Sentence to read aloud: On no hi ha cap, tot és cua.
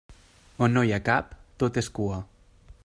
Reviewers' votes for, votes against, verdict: 3, 0, accepted